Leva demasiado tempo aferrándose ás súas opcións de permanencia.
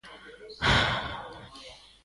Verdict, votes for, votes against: rejected, 0, 2